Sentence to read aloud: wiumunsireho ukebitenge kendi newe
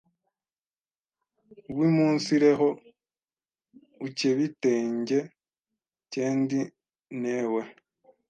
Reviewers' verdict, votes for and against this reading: rejected, 1, 2